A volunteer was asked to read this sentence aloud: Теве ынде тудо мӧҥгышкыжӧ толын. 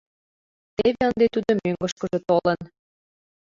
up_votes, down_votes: 0, 2